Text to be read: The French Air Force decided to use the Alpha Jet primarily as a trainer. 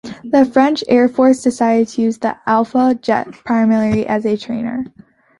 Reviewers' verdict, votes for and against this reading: accepted, 2, 0